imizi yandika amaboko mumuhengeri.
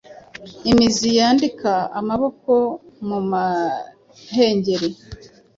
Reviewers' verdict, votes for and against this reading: rejected, 0, 2